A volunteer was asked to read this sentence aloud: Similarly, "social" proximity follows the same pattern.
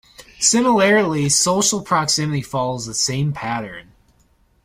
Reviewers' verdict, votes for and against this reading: accepted, 2, 0